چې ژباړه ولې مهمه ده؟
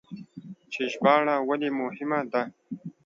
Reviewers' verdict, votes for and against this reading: accepted, 2, 0